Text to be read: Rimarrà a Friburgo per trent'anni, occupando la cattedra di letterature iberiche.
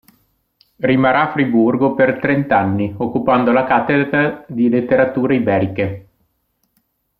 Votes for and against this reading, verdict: 0, 2, rejected